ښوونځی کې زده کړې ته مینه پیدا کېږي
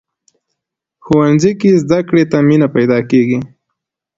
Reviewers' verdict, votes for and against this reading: accepted, 2, 0